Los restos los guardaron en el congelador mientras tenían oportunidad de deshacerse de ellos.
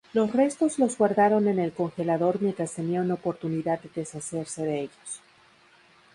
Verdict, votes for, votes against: accepted, 2, 0